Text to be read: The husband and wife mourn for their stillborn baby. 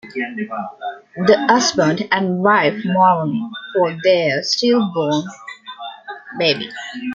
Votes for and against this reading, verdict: 0, 2, rejected